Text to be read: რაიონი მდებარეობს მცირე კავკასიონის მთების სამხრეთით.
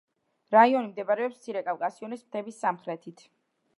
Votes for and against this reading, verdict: 2, 0, accepted